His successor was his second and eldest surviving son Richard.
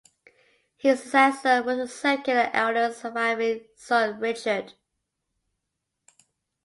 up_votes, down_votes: 0, 2